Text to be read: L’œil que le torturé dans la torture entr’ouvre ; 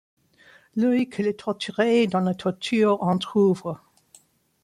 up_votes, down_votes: 2, 0